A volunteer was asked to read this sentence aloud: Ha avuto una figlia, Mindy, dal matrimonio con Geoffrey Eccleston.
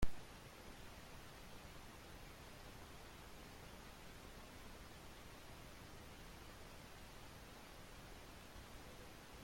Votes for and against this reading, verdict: 0, 2, rejected